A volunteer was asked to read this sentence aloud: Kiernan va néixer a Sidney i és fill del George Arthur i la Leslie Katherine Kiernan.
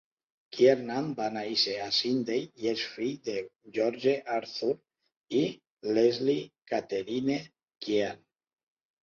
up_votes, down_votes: 0, 2